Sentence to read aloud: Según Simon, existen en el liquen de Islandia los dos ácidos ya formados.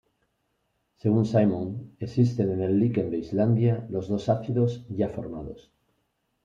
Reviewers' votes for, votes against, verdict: 1, 2, rejected